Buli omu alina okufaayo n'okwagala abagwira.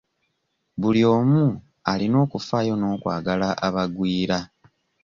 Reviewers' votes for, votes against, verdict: 2, 1, accepted